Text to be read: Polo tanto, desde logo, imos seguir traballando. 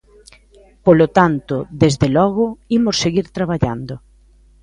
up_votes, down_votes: 2, 0